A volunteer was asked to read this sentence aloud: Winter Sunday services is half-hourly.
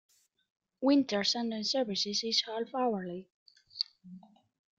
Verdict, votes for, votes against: accepted, 2, 1